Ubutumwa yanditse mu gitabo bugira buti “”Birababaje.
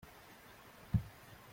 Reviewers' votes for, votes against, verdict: 0, 3, rejected